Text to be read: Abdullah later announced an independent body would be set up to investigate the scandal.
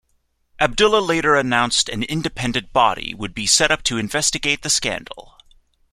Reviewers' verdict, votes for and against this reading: accepted, 2, 0